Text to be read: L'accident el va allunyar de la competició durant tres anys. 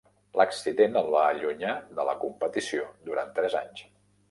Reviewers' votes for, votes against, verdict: 1, 2, rejected